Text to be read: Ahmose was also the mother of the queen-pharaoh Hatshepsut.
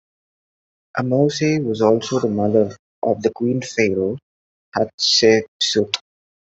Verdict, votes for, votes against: rejected, 1, 2